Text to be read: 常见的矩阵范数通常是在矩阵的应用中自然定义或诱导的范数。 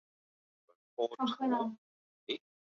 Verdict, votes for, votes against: rejected, 0, 2